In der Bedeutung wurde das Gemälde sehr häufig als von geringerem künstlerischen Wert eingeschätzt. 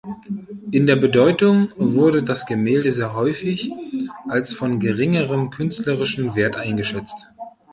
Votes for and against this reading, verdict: 1, 2, rejected